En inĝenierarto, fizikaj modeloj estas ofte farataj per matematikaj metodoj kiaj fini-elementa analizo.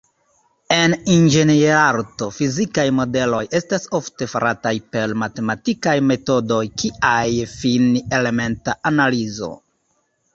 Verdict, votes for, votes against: accepted, 2, 0